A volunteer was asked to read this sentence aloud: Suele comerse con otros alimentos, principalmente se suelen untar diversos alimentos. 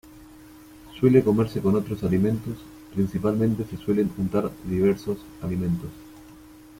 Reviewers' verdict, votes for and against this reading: accepted, 2, 0